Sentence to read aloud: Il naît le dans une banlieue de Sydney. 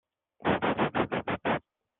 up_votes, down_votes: 0, 2